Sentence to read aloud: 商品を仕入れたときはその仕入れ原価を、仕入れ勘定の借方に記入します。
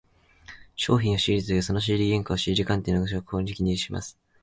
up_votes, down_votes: 0, 2